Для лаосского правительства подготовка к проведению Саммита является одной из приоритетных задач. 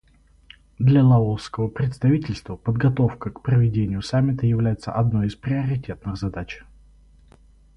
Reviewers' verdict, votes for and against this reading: rejected, 2, 2